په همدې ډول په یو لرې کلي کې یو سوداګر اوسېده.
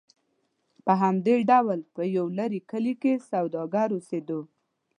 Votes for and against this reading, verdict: 1, 2, rejected